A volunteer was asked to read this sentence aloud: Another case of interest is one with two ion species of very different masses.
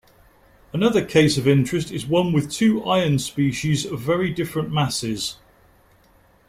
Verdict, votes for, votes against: accepted, 2, 0